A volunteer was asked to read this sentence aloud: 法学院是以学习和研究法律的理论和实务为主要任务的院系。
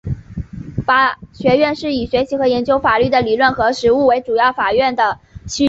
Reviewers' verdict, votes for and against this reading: accepted, 2, 0